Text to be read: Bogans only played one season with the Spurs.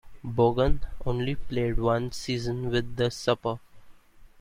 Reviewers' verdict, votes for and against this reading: rejected, 1, 2